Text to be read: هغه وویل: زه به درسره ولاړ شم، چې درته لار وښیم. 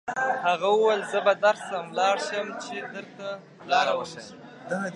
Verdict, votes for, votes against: rejected, 1, 2